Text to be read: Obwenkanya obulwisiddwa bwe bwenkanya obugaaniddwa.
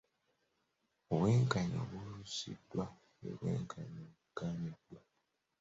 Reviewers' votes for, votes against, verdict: 0, 2, rejected